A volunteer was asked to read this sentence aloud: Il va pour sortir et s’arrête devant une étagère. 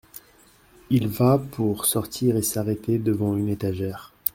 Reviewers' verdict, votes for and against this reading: rejected, 0, 2